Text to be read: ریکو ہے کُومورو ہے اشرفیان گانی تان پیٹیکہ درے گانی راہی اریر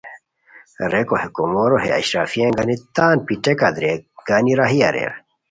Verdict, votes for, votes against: accepted, 2, 0